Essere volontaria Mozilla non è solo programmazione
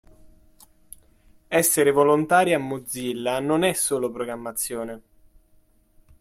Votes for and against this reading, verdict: 2, 0, accepted